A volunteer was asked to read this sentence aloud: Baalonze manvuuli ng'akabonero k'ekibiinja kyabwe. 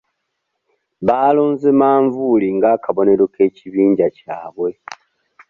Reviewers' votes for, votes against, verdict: 2, 0, accepted